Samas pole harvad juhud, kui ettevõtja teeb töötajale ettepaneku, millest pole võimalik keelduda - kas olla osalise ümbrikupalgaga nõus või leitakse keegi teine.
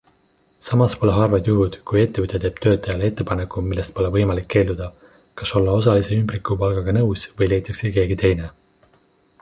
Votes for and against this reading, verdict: 2, 0, accepted